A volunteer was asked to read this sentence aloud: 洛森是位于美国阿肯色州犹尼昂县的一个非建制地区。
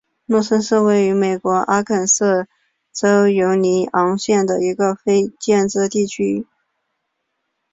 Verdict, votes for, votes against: accepted, 2, 0